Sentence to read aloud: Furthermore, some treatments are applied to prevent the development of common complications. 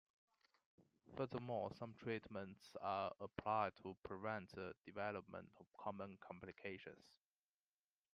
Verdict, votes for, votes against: accepted, 2, 1